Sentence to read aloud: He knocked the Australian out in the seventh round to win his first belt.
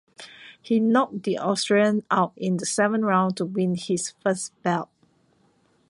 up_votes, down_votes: 1, 2